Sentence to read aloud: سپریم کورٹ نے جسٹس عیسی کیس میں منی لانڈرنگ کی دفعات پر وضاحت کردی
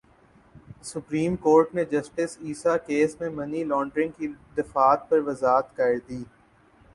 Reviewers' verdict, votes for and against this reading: accepted, 5, 2